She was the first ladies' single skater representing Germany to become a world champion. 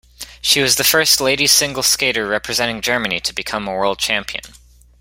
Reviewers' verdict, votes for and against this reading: accepted, 2, 0